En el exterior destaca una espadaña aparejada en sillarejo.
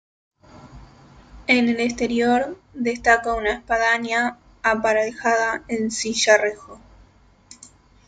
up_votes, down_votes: 1, 2